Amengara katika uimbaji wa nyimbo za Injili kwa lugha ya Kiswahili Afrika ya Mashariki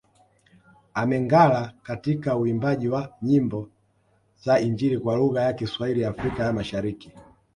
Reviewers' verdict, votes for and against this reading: accepted, 2, 0